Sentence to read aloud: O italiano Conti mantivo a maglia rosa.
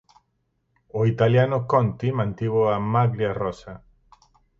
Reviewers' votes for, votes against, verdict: 4, 0, accepted